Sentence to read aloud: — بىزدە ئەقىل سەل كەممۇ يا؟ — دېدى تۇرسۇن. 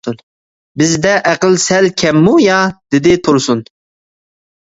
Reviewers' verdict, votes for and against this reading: accepted, 2, 0